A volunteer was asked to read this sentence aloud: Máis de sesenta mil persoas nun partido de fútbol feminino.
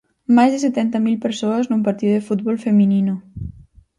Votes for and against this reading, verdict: 0, 4, rejected